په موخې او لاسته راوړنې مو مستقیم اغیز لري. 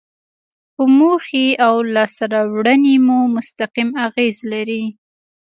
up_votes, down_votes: 2, 0